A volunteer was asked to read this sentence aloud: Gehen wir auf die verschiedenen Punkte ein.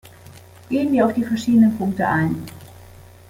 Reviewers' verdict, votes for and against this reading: accepted, 2, 0